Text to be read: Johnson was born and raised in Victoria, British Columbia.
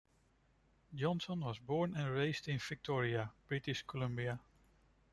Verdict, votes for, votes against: rejected, 1, 2